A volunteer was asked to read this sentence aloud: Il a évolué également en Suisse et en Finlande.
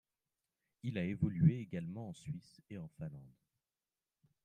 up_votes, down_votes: 2, 1